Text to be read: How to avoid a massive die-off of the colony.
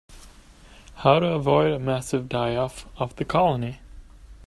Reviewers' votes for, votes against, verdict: 2, 0, accepted